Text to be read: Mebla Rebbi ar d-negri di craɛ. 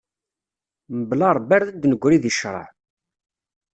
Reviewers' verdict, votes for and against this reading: rejected, 1, 2